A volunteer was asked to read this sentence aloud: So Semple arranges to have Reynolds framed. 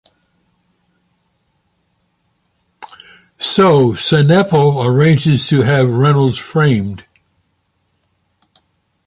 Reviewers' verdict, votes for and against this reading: rejected, 1, 2